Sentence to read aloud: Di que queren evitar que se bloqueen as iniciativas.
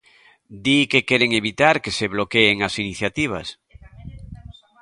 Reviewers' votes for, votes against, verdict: 1, 2, rejected